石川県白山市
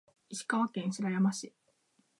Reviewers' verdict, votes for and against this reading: rejected, 2, 3